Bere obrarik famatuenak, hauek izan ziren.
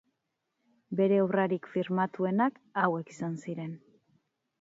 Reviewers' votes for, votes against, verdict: 2, 4, rejected